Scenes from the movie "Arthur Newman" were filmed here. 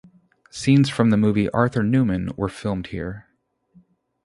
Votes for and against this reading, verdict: 2, 0, accepted